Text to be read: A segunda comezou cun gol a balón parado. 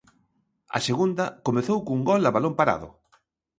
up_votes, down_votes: 2, 0